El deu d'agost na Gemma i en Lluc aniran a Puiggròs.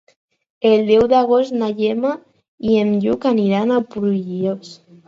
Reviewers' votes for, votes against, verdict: 0, 4, rejected